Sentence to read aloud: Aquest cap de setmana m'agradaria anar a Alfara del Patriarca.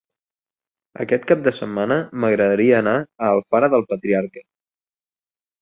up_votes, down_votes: 2, 0